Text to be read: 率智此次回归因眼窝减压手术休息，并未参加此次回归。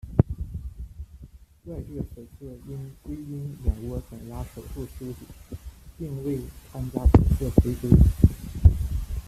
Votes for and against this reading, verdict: 0, 2, rejected